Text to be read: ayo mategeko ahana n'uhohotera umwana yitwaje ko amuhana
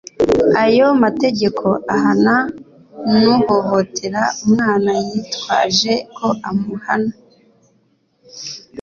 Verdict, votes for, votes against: accepted, 2, 0